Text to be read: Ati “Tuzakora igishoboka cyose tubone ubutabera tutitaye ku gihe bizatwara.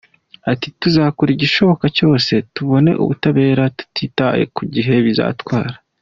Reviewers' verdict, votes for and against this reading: accepted, 2, 1